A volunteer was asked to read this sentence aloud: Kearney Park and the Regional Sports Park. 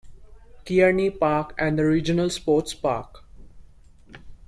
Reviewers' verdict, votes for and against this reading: accepted, 2, 1